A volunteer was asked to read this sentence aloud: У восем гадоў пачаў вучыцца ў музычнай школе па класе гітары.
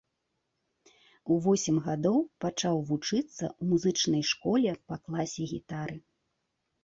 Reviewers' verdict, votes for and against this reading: accepted, 2, 0